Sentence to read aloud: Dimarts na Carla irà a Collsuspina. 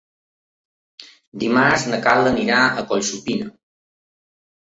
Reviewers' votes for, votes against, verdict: 1, 2, rejected